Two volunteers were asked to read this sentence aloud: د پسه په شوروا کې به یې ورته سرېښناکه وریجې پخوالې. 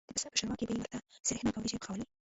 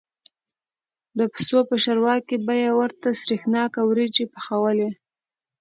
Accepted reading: second